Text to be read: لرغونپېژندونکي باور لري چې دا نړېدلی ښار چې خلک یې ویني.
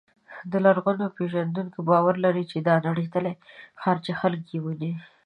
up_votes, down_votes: 2, 1